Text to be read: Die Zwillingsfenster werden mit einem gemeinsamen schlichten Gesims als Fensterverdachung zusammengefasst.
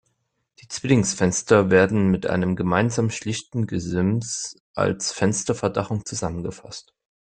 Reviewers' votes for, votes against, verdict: 2, 0, accepted